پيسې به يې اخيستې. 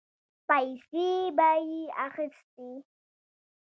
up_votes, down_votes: 1, 2